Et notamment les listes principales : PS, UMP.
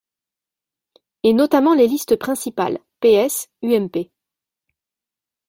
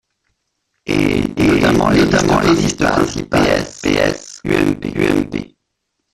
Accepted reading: first